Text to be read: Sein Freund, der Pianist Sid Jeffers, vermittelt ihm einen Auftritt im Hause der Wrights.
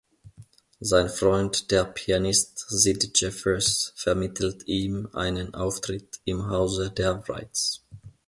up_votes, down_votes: 2, 0